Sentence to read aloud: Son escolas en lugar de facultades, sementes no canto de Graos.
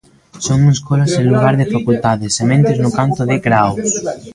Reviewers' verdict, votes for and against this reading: rejected, 0, 2